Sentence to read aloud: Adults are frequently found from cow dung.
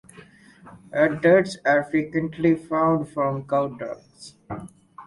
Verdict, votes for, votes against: rejected, 0, 4